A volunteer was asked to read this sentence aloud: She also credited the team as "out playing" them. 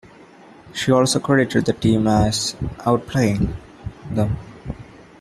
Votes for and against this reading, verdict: 2, 0, accepted